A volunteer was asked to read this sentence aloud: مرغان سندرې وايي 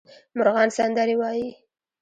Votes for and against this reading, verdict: 0, 2, rejected